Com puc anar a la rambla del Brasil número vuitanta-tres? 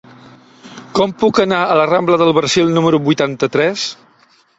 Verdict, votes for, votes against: rejected, 1, 2